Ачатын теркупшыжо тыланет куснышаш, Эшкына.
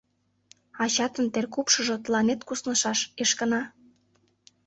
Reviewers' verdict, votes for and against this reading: accepted, 2, 0